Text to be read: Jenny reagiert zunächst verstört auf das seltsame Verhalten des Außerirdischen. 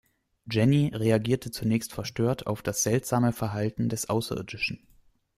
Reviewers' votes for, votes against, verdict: 0, 2, rejected